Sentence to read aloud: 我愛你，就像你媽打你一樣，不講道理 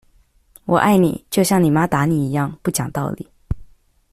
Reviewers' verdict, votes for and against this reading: accepted, 2, 0